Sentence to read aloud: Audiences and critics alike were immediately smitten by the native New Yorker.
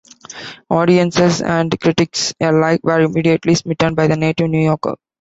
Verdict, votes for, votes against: accepted, 2, 1